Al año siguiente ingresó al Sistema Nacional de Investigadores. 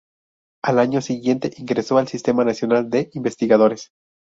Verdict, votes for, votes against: rejected, 0, 2